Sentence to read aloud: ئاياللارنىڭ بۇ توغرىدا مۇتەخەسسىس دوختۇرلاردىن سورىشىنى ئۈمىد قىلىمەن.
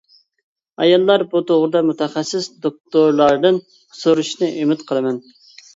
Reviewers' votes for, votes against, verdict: 1, 2, rejected